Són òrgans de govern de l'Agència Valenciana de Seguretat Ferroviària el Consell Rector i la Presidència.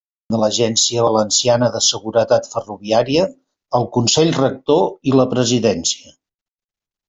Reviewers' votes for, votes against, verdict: 0, 2, rejected